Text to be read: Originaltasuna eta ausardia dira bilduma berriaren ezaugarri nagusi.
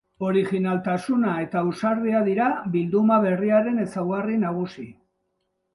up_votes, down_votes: 2, 0